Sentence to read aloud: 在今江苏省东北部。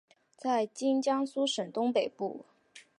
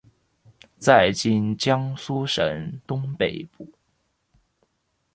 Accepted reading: first